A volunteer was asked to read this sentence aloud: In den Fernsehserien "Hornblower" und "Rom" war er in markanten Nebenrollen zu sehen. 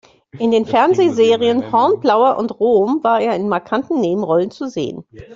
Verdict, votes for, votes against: accepted, 2, 0